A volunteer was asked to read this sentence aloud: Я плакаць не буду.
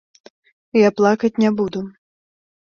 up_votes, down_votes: 2, 0